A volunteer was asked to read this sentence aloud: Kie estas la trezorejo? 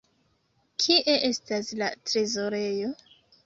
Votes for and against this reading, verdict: 2, 0, accepted